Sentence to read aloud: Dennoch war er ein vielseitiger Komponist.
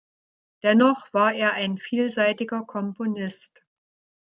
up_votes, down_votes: 2, 0